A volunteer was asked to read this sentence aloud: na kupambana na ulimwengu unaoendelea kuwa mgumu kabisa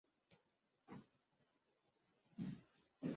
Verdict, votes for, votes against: rejected, 0, 2